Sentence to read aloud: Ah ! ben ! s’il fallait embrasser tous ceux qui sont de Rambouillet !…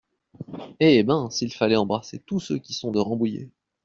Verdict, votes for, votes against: rejected, 0, 2